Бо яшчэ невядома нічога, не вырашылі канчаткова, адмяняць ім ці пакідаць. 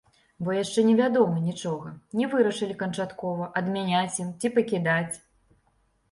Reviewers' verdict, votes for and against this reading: accepted, 2, 0